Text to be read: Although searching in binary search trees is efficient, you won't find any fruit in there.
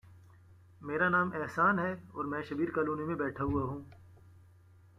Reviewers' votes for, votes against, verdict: 0, 2, rejected